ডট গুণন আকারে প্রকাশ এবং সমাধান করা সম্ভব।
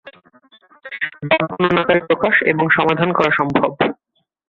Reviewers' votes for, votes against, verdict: 2, 5, rejected